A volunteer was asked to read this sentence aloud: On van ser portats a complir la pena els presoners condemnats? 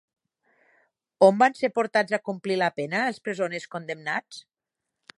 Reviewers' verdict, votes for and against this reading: accepted, 4, 0